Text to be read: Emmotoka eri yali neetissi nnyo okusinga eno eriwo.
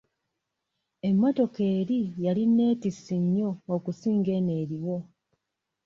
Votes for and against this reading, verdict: 2, 0, accepted